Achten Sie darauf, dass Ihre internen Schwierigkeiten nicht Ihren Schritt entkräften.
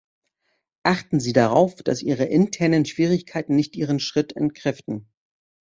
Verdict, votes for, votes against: accepted, 2, 0